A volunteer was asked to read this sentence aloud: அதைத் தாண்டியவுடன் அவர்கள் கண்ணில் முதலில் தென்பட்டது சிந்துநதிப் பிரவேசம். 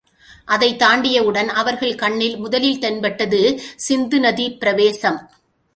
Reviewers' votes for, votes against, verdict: 1, 2, rejected